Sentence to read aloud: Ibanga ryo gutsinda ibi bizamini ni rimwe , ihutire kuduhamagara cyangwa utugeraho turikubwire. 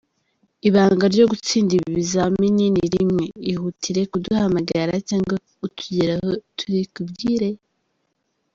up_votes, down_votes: 0, 2